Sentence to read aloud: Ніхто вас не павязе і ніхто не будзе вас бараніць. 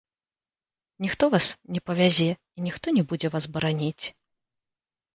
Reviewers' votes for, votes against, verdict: 2, 1, accepted